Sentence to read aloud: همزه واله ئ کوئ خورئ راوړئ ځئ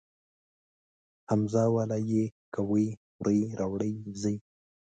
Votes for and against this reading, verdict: 2, 0, accepted